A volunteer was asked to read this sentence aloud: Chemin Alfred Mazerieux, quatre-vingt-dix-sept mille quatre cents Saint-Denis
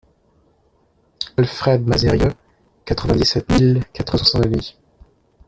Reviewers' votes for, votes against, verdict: 0, 2, rejected